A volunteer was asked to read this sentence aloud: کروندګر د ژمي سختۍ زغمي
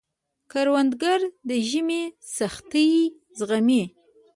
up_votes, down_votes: 1, 2